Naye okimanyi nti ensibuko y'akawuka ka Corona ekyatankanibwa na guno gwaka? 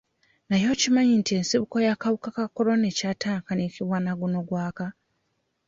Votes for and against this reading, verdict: 1, 2, rejected